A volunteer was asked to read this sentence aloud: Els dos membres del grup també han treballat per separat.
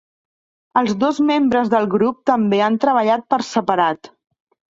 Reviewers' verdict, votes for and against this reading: accepted, 2, 0